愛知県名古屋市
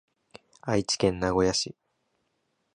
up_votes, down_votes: 2, 0